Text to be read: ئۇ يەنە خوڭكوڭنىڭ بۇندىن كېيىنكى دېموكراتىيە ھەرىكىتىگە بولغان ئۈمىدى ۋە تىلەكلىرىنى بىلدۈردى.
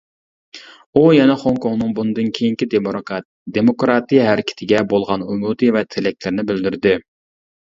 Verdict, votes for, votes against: rejected, 0, 2